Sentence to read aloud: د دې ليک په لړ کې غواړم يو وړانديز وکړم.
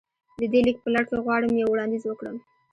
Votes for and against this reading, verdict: 2, 1, accepted